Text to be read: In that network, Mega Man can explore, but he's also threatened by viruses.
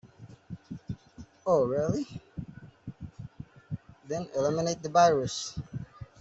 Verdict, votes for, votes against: rejected, 0, 2